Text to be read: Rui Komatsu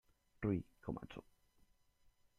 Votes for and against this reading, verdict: 0, 2, rejected